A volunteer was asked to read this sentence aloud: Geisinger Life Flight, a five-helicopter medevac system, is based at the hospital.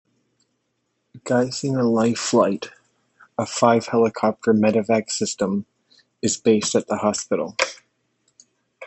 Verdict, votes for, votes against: accepted, 3, 1